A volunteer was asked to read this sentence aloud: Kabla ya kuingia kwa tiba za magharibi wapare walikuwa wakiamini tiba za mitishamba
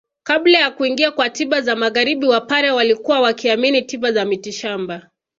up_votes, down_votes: 2, 0